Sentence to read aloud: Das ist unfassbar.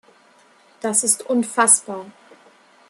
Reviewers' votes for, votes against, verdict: 2, 0, accepted